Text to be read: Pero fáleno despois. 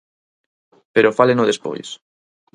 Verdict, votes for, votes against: accepted, 4, 0